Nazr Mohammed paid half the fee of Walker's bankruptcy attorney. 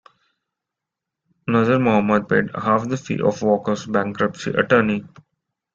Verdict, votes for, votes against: accepted, 2, 0